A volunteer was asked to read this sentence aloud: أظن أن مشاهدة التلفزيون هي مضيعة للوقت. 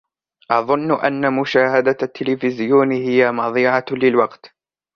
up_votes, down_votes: 2, 0